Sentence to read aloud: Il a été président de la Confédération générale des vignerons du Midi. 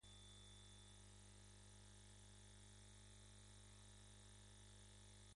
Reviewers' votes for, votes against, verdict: 1, 2, rejected